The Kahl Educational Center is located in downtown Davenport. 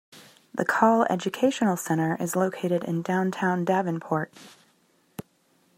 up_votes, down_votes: 2, 0